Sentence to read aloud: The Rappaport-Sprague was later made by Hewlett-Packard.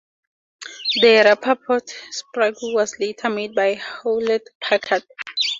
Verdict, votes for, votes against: rejected, 4, 6